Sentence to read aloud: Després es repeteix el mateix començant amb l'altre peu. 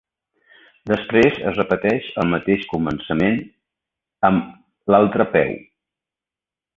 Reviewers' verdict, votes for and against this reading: rejected, 1, 2